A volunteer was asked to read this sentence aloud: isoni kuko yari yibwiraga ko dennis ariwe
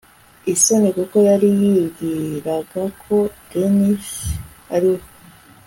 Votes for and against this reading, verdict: 1, 2, rejected